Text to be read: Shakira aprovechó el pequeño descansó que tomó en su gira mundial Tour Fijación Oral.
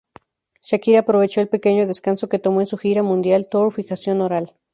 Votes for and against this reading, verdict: 0, 2, rejected